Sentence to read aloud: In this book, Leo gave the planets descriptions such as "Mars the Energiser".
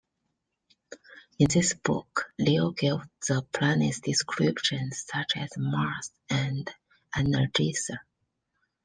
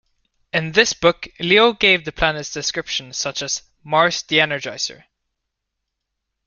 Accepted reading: second